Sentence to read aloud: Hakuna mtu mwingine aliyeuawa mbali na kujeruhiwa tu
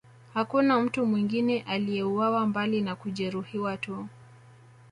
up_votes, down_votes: 1, 2